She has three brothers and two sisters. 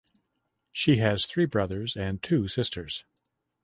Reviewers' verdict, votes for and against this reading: accepted, 2, 0